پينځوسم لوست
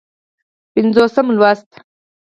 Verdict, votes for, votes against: rejected, 2, 4